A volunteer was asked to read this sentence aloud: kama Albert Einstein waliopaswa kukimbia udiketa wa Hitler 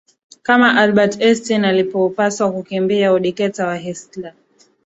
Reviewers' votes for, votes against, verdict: 0, 2, rejected